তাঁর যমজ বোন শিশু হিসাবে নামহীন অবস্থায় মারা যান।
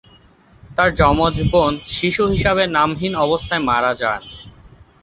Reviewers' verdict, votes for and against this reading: accepted, 2, 0